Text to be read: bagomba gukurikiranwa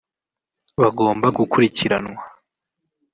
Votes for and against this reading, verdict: 3, 1, accepted